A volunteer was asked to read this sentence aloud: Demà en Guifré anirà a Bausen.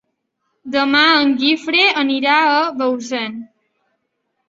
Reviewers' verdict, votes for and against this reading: accepted, 3, 0